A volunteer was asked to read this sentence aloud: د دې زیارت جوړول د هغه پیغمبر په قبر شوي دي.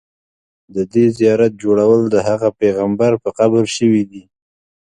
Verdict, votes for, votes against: accepted, 2, 0